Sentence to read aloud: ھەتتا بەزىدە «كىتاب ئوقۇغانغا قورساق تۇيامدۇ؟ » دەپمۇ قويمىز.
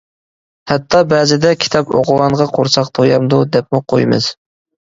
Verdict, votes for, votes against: accepted, 2, 1